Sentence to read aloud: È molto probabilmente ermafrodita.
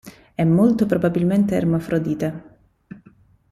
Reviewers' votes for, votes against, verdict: 1, 2, rejected